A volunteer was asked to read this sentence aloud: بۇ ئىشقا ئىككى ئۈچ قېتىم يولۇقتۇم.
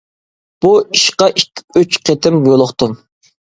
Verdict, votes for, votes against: rejected, 1, 2